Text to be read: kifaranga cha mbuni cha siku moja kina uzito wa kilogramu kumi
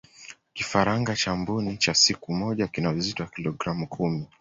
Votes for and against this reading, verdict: 2, 1, accepted